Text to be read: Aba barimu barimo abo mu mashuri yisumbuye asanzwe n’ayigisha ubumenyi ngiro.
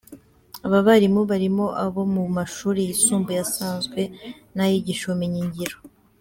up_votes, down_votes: 2, 0